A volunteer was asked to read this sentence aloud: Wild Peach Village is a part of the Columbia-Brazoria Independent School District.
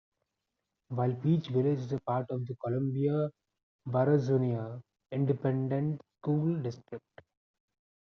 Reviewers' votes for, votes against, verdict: 1, 2, rejected